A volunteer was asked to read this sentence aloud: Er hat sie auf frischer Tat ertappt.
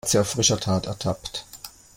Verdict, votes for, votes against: rejected, 1, 2